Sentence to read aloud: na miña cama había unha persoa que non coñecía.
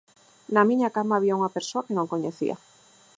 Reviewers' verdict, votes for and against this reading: accepted, 4, 0